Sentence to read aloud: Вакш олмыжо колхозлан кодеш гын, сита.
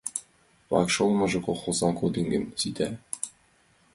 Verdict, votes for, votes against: rejected, 1, 2